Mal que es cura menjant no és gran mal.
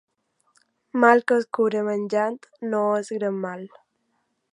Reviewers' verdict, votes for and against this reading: accepted, 2, 0